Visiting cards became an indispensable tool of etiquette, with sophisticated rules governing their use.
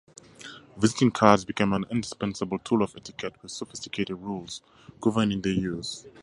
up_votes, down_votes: 2, 2